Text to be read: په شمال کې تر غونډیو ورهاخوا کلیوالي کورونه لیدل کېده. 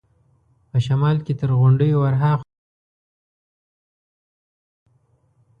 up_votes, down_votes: 1, 2